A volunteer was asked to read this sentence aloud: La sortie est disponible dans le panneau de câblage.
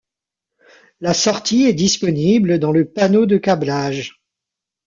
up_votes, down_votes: 2, 1